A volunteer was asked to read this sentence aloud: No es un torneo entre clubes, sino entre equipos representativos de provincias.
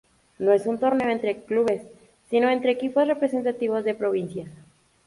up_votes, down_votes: 0, 2